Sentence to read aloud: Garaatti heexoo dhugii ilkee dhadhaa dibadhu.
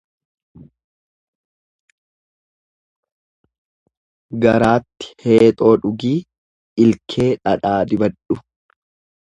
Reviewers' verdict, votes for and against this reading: accepted, 2, 0